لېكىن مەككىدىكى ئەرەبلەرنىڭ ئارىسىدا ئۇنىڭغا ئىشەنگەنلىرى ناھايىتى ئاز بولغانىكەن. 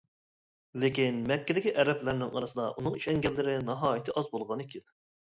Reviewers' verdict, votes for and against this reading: accepted, 2, 0